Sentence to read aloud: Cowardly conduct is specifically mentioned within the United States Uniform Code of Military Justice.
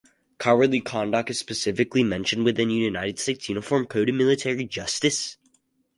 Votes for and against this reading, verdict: 4, 0, accepted